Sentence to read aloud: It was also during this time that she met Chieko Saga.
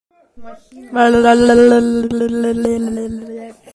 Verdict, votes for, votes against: rejected, 0, 2